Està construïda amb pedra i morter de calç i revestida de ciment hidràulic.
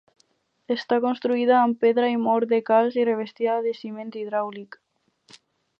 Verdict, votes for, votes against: rejected, 0, 4